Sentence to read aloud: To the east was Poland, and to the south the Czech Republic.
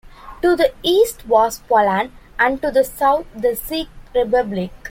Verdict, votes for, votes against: rejected, 1, 2